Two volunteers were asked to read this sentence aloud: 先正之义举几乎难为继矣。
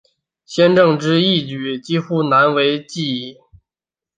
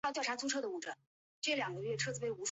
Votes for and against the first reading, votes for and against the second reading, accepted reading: 3, 0, 0, 2, first